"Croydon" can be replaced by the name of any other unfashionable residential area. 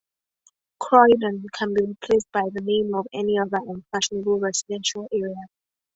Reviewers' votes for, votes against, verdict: 2, 0, accepted